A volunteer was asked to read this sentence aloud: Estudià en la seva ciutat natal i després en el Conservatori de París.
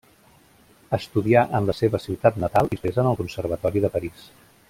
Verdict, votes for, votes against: rejected, 0, 2